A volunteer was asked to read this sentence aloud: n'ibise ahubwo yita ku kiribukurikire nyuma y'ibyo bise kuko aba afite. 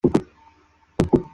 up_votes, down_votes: 0, 2